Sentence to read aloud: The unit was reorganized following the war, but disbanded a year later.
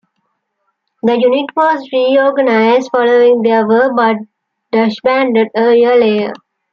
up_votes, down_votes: 2, 0